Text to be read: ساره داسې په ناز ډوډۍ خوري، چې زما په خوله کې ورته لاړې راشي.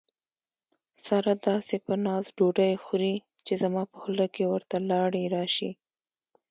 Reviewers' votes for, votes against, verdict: 0, 2, rejected